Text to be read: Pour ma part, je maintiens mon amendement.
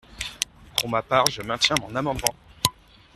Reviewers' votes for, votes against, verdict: 1, 2, rejected